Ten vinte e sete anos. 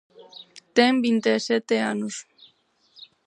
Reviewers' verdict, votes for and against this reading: accepted, 4, 0